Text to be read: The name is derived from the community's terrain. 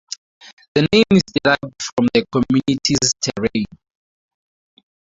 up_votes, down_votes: 2, 4